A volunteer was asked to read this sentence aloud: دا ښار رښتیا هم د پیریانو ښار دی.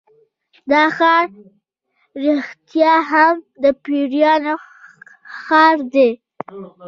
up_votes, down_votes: 2, 0